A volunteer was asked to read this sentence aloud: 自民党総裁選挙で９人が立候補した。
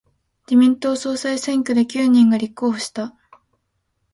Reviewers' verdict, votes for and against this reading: rejected, 0, 2